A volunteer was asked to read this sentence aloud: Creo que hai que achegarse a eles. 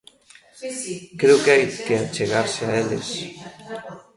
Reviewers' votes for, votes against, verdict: 0, 2, rejected